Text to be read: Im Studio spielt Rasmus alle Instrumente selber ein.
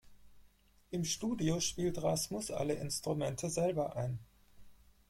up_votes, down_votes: 0, 4